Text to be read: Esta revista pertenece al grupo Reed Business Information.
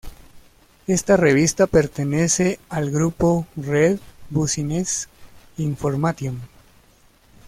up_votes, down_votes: 0, 2